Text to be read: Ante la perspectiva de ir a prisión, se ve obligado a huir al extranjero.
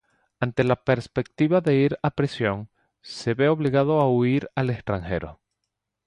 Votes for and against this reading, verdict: 0, 2, rejected